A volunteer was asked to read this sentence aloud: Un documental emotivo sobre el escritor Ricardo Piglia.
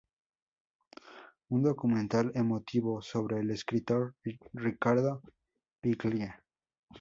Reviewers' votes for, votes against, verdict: 0, 2, rejected